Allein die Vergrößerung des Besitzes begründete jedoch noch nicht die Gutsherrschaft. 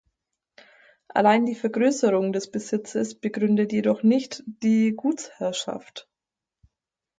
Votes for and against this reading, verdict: 2, 4, rejected